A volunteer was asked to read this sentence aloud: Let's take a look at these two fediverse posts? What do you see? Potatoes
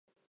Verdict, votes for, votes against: rejected, 0, 4